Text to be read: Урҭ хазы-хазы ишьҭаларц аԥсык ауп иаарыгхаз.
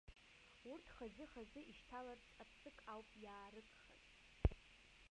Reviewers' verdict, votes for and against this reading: rejected, 0, 2